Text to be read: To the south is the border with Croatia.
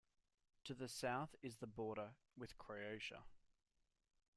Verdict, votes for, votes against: accepted, 2, 0